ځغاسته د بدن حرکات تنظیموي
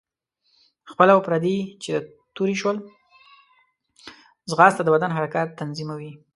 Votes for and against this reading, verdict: 0, 2, rejected